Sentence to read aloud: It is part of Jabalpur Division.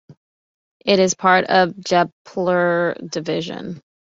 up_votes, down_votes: 1, 2